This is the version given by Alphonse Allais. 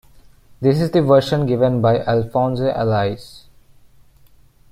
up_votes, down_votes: 2, 0